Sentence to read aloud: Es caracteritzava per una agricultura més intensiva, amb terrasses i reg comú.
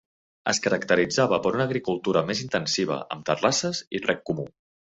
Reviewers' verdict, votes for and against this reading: accepted, 2, 0